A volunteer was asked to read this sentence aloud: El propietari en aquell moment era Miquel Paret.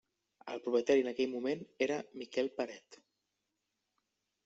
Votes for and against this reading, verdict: 1, 2, rejected